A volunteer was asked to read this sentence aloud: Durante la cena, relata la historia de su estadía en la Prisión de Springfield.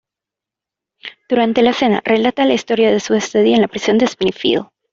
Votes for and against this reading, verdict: 2, 1, accepted